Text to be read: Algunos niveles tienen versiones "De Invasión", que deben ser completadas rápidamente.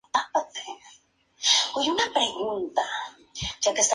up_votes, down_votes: 0, 2